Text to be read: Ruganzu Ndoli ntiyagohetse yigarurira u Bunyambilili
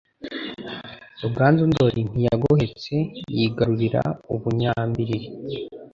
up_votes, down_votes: 2, 0